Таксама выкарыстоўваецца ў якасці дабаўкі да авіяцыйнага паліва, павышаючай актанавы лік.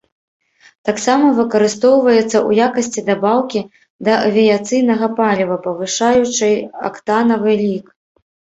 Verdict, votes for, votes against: accepted, 3, 0